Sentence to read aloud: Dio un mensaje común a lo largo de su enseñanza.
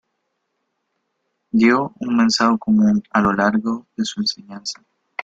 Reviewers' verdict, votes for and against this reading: rejected, 1, 2